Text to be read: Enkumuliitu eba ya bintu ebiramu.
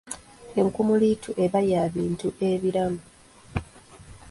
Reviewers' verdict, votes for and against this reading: accepted, 2, 0